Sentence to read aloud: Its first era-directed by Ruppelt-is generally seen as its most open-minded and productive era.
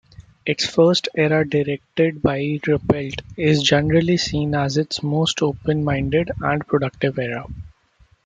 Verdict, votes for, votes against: rejected, 0, 2